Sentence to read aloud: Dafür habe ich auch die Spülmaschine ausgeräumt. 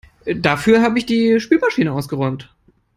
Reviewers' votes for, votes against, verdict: 0, 3, rejected